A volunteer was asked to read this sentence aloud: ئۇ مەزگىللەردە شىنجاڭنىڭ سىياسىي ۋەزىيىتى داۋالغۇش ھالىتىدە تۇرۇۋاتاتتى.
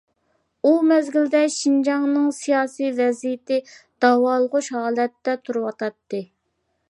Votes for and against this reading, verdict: 0, 2, rejected